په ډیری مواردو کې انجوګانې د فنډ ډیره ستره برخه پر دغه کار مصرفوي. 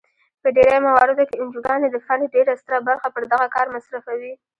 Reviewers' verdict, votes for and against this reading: rejected, 1, 2